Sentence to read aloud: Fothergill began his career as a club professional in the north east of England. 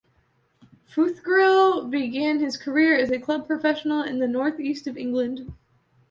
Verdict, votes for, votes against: rejected, 1, 2